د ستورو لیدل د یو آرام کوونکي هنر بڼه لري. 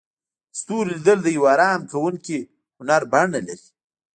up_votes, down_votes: 1, 2